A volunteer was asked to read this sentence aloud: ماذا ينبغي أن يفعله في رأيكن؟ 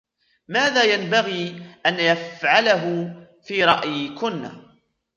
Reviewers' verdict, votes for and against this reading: rejected, 1, 2